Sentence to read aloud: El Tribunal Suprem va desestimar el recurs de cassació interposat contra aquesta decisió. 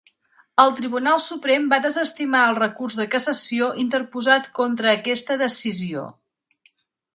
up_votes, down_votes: 2, 0